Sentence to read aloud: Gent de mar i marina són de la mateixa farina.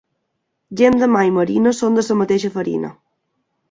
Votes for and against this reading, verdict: 1, 2, rejected